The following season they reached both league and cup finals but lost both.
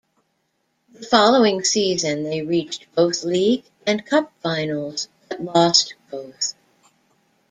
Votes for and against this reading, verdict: 2, 0, accepted